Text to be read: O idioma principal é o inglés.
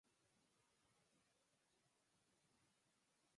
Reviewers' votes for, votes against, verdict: 0, 4, rejected